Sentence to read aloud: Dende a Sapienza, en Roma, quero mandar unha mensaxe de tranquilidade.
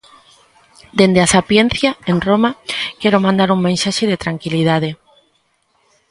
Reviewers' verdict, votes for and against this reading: rejected, 0, 2